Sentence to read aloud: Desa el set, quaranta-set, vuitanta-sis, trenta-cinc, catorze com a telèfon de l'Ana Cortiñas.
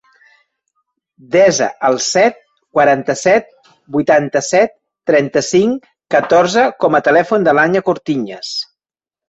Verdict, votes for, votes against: rejected, 0, 2